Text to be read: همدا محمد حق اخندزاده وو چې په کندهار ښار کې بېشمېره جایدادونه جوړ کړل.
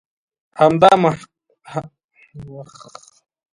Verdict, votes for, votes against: rejected, 0, 2